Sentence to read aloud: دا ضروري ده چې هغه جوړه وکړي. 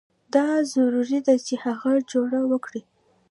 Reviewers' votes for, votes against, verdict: 1, 2, rejected